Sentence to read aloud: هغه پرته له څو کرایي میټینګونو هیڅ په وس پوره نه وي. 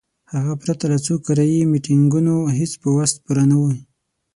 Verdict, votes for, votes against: accepted, 6, 0